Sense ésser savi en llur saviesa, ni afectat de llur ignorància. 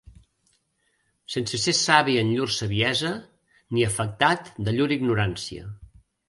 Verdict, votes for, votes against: rejected, 1, 2